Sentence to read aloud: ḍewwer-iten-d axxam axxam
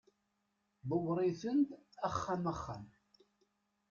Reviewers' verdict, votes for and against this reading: accepted, 2, 0